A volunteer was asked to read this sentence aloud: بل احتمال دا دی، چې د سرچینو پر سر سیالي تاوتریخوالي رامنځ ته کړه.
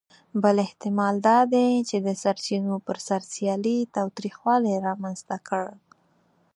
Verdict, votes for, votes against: accepted, 4, 0